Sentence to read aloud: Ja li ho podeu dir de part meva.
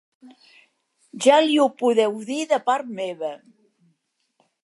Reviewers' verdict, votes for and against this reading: accepted, 2, 0